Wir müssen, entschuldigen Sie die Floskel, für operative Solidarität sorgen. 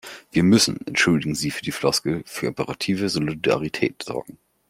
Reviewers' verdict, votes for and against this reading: rejected, 1, 2